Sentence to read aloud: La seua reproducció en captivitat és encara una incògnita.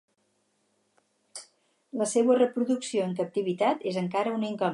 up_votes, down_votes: 0, 4